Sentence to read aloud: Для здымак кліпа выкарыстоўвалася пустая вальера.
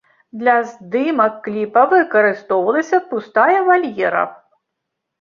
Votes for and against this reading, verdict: 3, 0, accepted